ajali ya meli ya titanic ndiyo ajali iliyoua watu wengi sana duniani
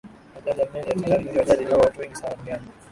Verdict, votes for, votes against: rejected, 3, 6